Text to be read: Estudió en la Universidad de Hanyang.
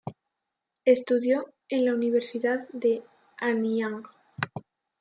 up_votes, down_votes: 1, 2